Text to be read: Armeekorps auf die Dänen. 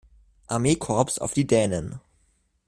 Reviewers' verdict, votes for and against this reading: accepted, 2, 0